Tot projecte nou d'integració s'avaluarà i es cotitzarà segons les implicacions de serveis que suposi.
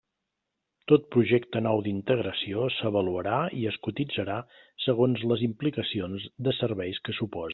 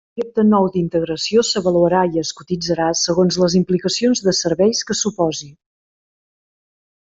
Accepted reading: first